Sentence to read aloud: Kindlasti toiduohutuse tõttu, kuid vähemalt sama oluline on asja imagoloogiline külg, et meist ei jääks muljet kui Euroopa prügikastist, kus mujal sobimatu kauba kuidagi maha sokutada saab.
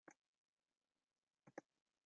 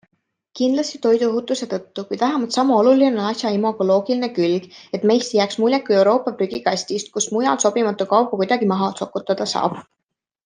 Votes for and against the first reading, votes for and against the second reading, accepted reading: 0, 2, 2, 0, second